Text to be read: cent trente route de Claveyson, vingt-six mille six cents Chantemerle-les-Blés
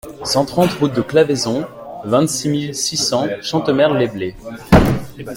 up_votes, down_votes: 2, 0